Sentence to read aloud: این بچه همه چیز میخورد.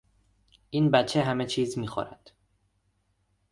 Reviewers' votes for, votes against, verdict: 2, 0, accepted